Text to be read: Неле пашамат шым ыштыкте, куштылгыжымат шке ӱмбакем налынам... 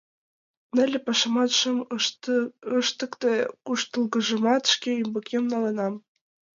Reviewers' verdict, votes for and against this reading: rejected, 1, 2